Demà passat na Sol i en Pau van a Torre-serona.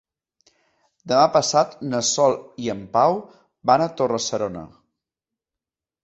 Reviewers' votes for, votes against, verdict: 2, 0, accepted